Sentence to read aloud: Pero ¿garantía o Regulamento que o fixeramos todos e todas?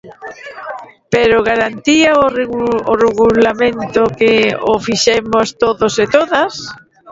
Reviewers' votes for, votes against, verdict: 0, 2, rejected